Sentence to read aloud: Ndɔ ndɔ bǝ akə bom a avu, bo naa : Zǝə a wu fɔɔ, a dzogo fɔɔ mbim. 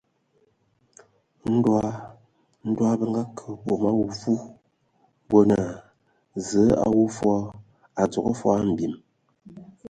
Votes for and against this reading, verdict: 2, 0, accepted